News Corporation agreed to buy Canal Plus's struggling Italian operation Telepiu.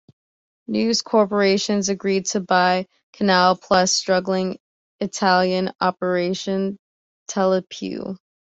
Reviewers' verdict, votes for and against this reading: accepted, 2, 1